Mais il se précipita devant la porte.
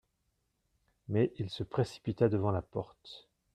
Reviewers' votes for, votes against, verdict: 2, 0, accepted